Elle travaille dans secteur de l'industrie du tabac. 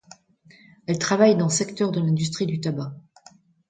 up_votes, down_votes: 2, 0